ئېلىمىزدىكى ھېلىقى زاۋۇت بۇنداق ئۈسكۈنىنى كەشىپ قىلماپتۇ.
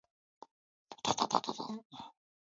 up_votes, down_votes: 0, 2